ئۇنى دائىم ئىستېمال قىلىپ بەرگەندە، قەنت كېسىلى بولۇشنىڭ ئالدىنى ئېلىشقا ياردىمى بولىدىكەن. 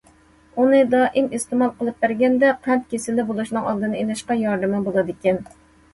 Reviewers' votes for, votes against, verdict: 2, 0, accepted